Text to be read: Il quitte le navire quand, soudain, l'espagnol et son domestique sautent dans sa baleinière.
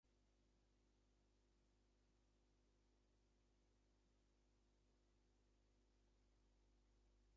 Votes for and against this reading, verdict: 0, 2, rejected